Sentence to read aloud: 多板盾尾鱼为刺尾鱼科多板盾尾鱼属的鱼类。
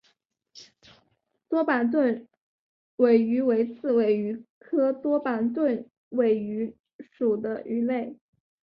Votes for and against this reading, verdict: 2, 0, accepted